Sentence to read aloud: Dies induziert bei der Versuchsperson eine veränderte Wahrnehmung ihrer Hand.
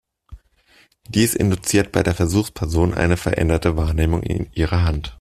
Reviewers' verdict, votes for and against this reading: rejected, 0, 2